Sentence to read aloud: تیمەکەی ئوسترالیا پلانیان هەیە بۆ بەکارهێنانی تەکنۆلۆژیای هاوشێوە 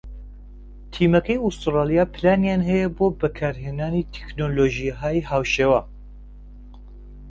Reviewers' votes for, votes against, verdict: 1, 2, rejected